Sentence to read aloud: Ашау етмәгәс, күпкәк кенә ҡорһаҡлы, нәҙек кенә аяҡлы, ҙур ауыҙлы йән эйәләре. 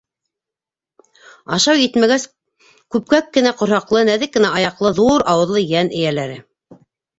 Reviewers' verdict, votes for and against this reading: accepted, 2, 0